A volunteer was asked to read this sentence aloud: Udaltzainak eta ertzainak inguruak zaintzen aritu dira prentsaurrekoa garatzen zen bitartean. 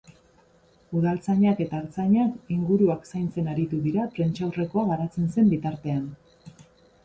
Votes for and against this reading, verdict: 7, 6, accepted